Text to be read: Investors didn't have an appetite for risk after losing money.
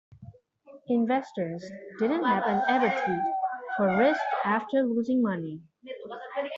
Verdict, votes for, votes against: rejected, 0, 2